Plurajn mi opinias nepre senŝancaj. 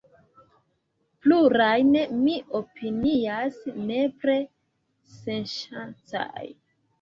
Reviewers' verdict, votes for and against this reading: rejected, 0, 3